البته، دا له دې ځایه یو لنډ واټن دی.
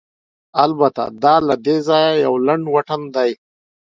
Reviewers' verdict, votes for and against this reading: accepted, 2, 0